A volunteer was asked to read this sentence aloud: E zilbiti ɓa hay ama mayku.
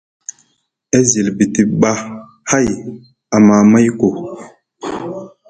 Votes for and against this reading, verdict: 2, 0, accepted